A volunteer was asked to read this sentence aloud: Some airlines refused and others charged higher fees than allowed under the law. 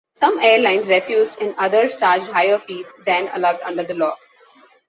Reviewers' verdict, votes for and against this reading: accepted, 2, 0